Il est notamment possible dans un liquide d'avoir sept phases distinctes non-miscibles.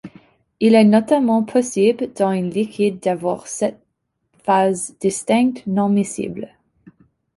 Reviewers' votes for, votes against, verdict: 0, 2, rejected